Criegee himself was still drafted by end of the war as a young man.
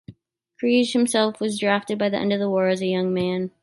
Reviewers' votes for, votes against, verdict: 4, 3, accepted